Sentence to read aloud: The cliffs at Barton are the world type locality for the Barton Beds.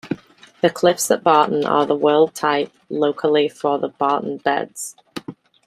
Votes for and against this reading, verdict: 0, 2, rejected